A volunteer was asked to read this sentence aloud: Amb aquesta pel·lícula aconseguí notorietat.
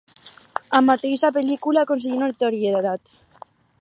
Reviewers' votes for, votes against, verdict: 2, 4, rejected